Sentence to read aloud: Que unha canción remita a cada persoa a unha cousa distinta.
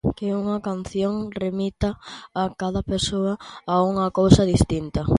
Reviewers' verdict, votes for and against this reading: accepted, 2, 0